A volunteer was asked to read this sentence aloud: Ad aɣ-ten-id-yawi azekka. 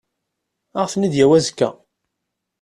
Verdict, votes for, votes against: accepted, 2, 0